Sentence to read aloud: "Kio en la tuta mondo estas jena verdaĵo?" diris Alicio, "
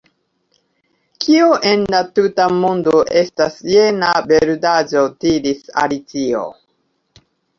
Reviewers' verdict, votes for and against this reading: rejected, 0, 2